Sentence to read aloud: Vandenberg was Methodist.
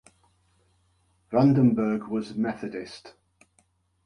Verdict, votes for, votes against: accepted, 2, 1